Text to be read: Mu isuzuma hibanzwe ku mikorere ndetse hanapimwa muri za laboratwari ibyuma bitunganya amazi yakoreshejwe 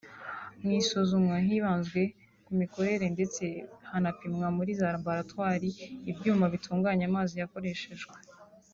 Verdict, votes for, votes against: accepted, 2, 0